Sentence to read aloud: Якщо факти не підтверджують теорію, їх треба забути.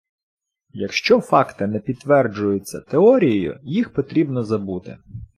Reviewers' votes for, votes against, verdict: 0, 2, rejected